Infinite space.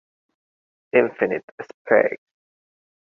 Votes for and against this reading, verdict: 1, 2, rejected